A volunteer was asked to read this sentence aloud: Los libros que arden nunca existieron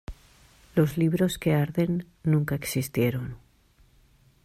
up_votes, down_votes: 2, 0